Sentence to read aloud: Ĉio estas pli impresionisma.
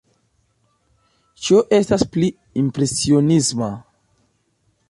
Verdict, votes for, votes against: rejected, 1, 2